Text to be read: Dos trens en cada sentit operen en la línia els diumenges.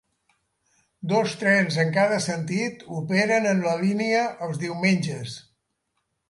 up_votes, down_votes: 3, 0